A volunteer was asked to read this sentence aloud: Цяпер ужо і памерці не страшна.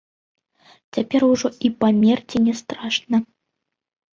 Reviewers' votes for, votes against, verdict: 2, 1, accepted